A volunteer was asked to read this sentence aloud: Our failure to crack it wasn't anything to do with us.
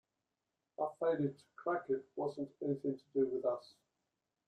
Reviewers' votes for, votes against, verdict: 0, 2, rejected